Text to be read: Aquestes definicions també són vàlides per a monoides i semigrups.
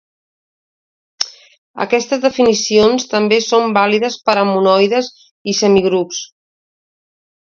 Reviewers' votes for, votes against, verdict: 2, 0, accepted